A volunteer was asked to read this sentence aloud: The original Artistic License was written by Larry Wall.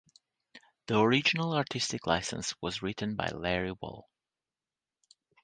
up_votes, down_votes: 3, 0